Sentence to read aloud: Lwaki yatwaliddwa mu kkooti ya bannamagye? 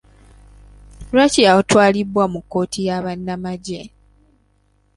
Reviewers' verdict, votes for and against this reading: rejected, 0, 2